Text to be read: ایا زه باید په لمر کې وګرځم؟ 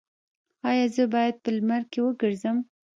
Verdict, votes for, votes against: rejected, 0, 2